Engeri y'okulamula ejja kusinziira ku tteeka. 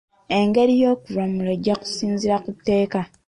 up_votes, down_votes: 2, 1